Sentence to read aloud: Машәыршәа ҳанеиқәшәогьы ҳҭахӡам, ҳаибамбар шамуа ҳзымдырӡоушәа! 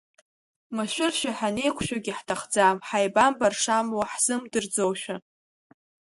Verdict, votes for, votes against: accepted, 2, 0